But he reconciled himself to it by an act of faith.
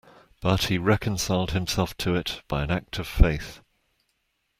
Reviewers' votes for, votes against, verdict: 2, 0, accepted